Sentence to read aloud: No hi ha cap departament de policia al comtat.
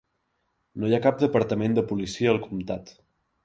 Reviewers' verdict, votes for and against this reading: accepted, 2, 0